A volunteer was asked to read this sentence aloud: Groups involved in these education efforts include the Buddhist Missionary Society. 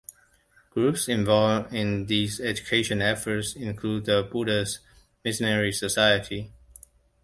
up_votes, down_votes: 2, 1